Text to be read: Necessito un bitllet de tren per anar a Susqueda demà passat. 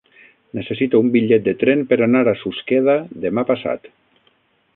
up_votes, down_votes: 9, 0